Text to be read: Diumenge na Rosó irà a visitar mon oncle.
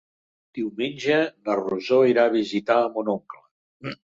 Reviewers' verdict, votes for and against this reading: rejected, 1, 2